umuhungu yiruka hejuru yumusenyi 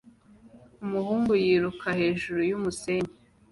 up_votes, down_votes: 2, 1